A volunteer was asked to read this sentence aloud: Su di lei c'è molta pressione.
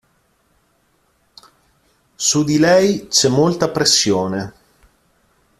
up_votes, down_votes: 2, 0